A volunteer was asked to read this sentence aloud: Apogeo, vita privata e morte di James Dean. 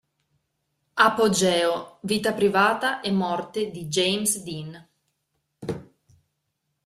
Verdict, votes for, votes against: accepted, 2, 0